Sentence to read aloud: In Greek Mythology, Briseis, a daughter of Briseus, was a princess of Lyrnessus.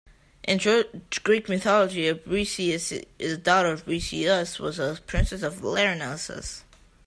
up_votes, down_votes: 0, 2